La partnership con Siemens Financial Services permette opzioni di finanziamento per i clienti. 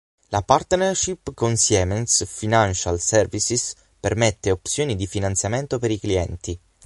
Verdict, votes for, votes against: rejected, 0, 6